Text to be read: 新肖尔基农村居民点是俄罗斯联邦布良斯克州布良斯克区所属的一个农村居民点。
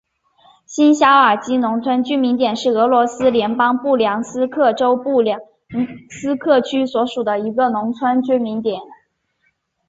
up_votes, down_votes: 2, 0